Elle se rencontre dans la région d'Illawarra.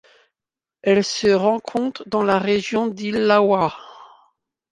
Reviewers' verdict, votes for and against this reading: rejected, 0, 2